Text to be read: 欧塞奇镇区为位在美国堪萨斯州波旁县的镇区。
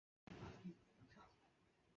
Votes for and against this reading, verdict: 0, 2, rejected